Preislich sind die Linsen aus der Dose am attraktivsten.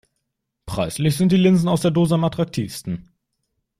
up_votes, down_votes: 2, 0